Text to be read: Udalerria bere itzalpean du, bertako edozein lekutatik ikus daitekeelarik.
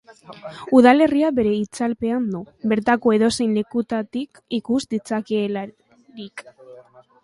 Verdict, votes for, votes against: rejected, 0, 2